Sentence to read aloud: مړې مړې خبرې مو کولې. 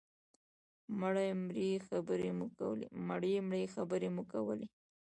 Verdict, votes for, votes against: rejected, 0, 2